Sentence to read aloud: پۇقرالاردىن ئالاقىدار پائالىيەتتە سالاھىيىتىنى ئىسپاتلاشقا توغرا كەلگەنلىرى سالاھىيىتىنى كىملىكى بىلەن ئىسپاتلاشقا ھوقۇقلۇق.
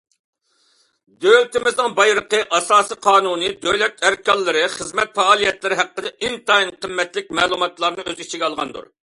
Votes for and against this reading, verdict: 0, 2, rejected